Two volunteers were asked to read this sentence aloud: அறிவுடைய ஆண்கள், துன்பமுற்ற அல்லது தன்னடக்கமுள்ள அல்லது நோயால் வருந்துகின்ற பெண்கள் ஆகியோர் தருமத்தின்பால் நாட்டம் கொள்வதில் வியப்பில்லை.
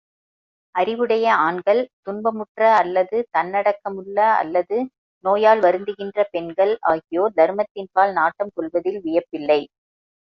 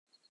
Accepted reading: first